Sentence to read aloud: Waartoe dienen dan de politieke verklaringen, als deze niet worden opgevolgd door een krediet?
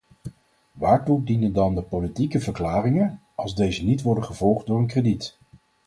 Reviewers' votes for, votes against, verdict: 0, 4, rejected